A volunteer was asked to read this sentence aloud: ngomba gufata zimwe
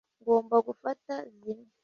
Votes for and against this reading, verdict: 2, 0, accepted